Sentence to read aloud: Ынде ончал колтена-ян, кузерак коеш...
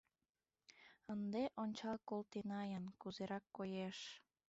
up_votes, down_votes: 2, 3